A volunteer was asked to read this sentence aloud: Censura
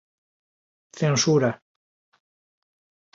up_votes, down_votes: 2, 0